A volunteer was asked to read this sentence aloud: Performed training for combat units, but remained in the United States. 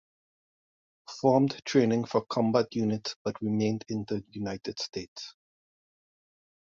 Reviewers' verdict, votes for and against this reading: accepted, 2, 0